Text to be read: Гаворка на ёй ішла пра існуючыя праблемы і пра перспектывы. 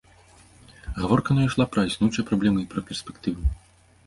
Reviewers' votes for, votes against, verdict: 0, 2, rejected